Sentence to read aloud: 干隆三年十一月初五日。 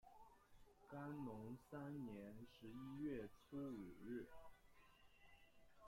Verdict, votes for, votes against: rejected, 0, 2